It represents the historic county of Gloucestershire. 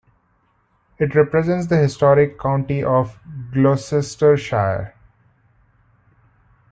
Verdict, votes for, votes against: accepted, 2, 1